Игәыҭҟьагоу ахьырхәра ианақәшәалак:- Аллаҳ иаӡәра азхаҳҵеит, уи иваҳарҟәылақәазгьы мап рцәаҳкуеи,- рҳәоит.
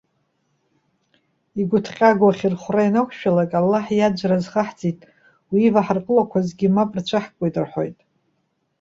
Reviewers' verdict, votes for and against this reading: accepted, 2, 0